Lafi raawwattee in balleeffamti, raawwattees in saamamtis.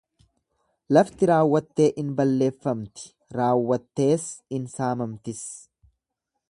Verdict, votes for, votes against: rejected, 1, 2